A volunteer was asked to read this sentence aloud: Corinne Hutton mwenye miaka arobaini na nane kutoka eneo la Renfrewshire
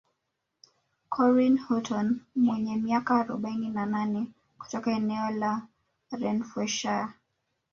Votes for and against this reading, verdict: 2, 1, accepted